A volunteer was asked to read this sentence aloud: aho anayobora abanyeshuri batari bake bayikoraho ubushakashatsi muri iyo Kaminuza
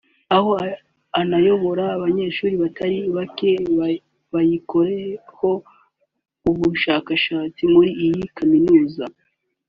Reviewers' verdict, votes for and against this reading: rejected, 3, 4